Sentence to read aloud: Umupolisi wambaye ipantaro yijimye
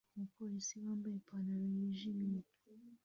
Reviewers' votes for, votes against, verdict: 2, 0, accepted